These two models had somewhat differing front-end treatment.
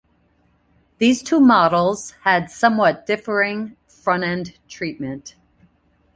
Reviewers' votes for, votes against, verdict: 2, 0, accepted